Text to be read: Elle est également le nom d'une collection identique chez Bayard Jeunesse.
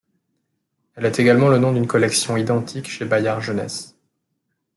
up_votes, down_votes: 2, 0